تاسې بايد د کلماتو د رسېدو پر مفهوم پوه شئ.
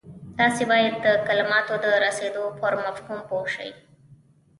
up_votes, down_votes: 1, 2